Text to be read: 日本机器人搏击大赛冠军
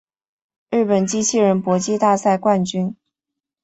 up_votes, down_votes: 2, 0